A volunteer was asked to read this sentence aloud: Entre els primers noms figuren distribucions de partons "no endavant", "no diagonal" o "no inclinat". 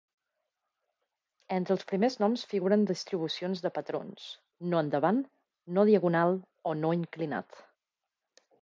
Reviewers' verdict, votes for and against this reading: rejected, 1, 2